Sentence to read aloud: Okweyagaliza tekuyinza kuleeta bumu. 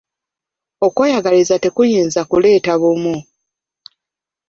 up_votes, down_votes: 2, 1